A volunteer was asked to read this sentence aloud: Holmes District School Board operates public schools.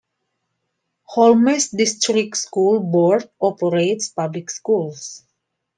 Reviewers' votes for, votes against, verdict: 2, 1, accepted